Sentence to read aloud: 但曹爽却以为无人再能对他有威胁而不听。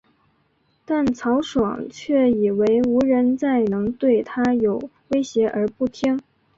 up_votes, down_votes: 2, 0